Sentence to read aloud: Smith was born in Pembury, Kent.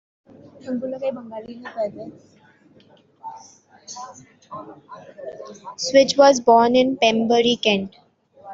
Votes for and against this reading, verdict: 1, 2, rejected